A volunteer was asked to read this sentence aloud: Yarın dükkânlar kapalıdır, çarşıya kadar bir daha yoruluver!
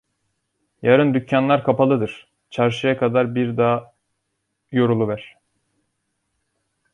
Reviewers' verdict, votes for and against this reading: rejected, 0, 2